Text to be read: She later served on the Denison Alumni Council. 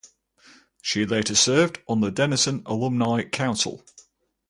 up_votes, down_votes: 4, 0